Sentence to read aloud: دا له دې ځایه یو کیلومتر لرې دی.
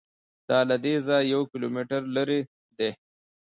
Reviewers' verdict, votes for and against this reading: accepted, 2, 0